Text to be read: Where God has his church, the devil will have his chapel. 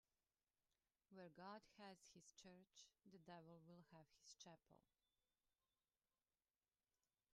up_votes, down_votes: 0, 2